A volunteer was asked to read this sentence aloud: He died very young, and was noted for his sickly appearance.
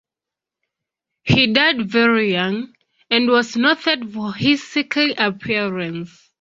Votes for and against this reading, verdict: 2, 0, accepted